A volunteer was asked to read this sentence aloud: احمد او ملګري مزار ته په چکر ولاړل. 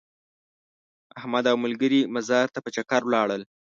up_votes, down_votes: 2, 0